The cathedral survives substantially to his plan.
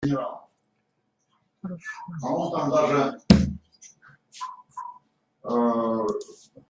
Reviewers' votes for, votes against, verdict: 0, 3, rejected